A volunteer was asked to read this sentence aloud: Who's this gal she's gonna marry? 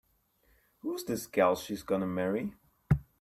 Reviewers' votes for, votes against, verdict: 2, 0, accepted